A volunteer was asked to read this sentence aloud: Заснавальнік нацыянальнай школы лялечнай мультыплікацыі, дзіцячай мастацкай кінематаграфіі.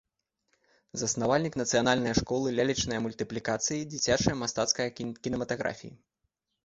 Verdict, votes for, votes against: rejected, 0, 2